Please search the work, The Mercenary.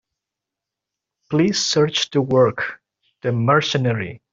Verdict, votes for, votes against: accepted, 2, 0